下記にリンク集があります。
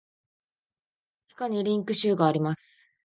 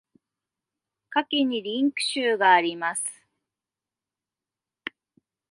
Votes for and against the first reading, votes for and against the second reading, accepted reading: 1, 2, 2, 0, second